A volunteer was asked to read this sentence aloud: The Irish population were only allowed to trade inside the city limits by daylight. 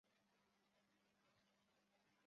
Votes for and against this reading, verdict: 0, 2, rejected